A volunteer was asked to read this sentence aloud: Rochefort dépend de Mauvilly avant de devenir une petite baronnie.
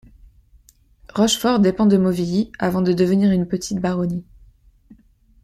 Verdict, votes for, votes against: accepted, 3, 0